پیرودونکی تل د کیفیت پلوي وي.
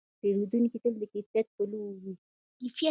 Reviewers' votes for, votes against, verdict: 2, 0, accepted